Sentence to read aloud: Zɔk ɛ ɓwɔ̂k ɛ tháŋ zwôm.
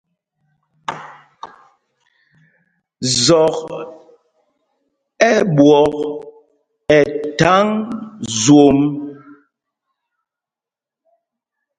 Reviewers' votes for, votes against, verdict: 2, 0, accepted